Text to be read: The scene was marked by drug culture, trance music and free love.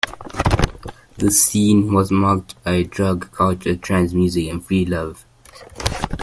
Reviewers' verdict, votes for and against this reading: accepted, 2, 1